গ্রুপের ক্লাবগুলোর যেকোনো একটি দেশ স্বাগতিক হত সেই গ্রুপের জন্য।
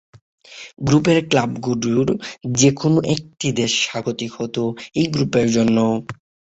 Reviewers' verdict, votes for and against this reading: rejected, 0, 6